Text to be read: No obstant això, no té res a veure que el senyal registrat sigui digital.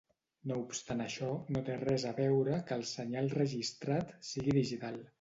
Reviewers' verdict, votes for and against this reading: rejected, 0, 2